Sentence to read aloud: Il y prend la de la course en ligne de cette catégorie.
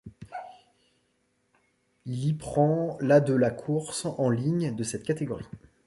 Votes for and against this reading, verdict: 2, 0, accepted